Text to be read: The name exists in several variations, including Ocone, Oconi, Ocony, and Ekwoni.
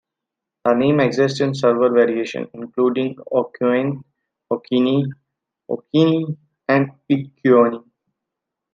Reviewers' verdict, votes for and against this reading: rejected, 0, 2